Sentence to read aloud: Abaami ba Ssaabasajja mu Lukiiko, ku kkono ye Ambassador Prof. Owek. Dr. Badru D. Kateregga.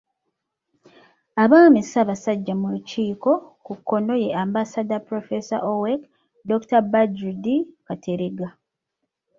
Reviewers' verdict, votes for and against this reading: rejected, 0, 2